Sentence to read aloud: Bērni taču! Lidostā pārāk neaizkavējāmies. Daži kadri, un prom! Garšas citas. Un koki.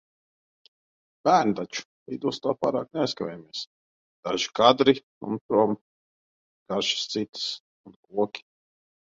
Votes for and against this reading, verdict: 0, 2, rejected